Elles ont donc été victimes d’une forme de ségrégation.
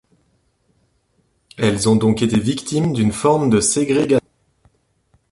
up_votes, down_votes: 0, 3